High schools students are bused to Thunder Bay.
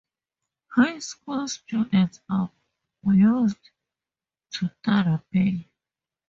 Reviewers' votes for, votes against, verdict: 2, 2, rejected